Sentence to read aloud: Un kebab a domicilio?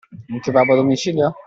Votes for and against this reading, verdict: 2, 0, accepted